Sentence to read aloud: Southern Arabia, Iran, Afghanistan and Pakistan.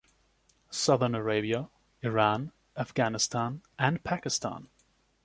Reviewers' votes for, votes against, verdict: 2, 0, accepted